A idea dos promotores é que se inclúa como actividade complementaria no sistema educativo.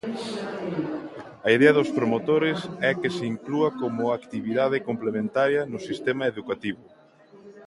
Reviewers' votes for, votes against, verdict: 2, 0, accepted